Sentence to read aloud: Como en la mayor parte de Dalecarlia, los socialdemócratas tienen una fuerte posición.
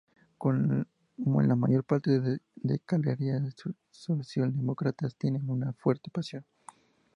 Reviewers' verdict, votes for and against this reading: accepted, 2, 0